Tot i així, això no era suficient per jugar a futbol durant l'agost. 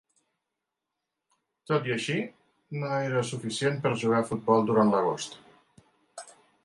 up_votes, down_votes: 0, 2